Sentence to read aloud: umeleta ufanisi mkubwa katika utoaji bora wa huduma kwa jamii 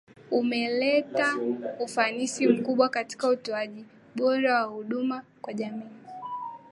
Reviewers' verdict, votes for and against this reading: accepted, 2, 0